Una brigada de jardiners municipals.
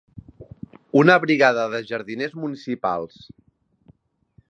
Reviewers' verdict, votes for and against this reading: accepted, 3, 1